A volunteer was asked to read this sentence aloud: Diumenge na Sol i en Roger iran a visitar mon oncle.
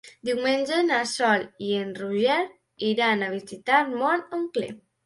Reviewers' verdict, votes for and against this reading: accepted, 2, 0